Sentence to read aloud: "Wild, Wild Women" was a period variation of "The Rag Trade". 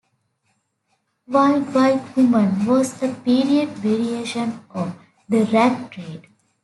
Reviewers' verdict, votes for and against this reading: accepted, 2, 1